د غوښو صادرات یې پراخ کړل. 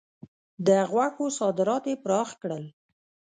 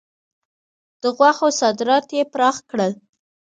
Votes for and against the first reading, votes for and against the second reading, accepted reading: 1, 2, 2, 0, second